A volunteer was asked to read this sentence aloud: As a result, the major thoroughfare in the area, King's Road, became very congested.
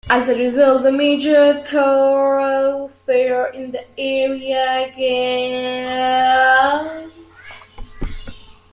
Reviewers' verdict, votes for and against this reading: rejected, 0, 2